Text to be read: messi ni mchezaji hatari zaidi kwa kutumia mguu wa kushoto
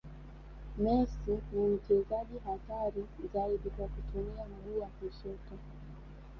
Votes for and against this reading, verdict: 0, 2, rejected